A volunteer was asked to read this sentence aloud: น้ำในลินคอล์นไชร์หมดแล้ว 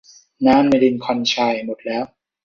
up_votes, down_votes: 2, 0